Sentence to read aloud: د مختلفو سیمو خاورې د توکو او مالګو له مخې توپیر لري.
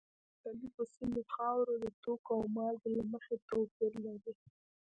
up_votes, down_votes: 0, 3